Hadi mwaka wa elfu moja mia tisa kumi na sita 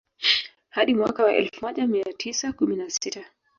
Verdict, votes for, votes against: rejected, 1, 2